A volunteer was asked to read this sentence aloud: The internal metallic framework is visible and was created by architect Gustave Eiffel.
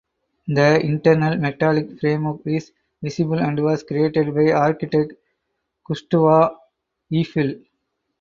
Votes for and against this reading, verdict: 2, 2, rejected